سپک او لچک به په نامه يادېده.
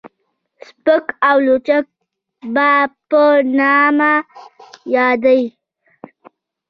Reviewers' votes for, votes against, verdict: 2, 0, accepted